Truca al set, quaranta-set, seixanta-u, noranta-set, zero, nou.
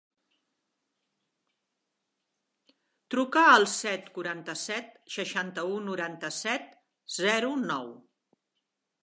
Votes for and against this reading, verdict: 4, 0, accepted